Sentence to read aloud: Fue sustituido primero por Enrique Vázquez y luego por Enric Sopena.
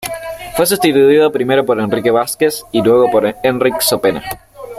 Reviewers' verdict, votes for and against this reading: rejected, 1, 2